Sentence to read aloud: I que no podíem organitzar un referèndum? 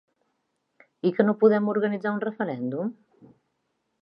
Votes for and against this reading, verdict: 1, 3, rejected